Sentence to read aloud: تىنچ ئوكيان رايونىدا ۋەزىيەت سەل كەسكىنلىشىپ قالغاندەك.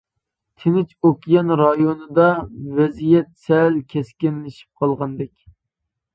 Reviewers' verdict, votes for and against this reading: accepted, 2, 0